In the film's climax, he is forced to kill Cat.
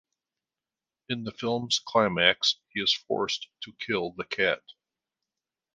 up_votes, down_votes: 0, 2